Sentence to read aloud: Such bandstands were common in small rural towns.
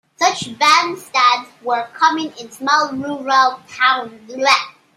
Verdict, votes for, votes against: rejected, 0, 3